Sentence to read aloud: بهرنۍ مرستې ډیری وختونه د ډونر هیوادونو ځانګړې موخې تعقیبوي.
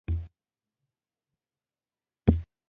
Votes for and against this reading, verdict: 0, 2, rejected